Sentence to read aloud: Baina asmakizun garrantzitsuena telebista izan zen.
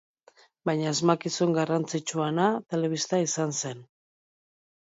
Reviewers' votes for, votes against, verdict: 1, 2, rejected